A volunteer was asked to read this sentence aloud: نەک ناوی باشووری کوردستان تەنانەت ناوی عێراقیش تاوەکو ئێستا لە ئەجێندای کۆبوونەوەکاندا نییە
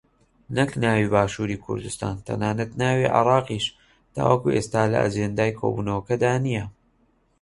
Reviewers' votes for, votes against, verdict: 1, 2, rejected